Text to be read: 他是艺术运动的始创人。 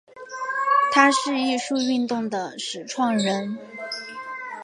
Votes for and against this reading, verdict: 2, 0, accepted